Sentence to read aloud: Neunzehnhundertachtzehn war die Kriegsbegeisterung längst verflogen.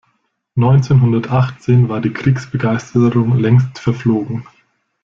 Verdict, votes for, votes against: accepted, 2, 1